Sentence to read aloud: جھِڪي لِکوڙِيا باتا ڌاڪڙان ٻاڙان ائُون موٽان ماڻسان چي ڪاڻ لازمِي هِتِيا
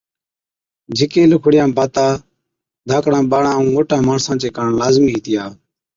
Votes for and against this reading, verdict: 2, 0, accepted